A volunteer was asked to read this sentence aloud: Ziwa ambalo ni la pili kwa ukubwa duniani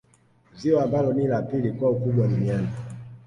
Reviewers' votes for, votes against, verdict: 2, 0, accepted